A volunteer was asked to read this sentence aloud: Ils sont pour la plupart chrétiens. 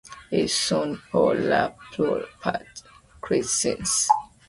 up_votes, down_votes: 1, 2